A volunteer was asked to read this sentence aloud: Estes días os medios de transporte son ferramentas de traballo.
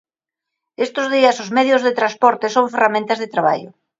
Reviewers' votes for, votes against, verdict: 1, 2, rejected